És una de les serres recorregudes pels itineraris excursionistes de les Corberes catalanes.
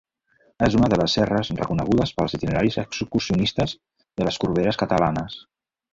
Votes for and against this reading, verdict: 1, 2, rejected